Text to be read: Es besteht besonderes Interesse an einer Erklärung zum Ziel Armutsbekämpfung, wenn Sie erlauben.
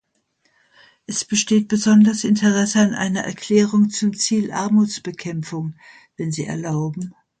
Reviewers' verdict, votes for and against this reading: rejected, 0, 2